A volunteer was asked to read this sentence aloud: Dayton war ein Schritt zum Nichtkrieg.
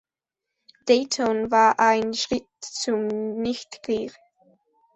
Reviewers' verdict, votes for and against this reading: rejected, 1, 2